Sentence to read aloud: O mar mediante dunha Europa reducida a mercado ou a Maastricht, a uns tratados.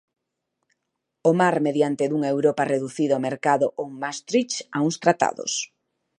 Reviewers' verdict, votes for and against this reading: rejected, 1, 3